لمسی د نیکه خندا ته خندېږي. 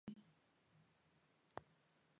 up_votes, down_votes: 0, 2